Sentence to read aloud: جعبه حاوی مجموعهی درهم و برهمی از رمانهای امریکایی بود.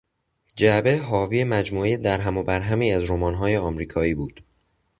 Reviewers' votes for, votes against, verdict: 2, 0, accepted